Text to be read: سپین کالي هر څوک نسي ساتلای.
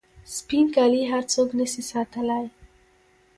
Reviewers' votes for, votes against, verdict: 0, 2, rejected